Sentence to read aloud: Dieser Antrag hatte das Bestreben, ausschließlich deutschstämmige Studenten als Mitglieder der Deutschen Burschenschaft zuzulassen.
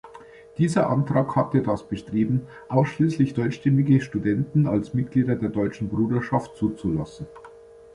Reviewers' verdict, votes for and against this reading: rejected, 0, 2